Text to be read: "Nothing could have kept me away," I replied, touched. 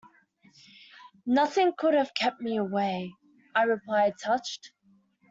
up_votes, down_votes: 2, 0